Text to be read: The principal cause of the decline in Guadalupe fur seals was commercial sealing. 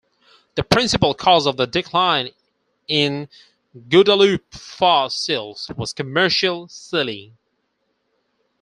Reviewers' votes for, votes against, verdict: 4, 2, accepted